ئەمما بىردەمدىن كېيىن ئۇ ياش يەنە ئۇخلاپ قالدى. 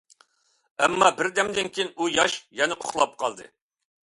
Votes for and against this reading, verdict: 2, 0, accepted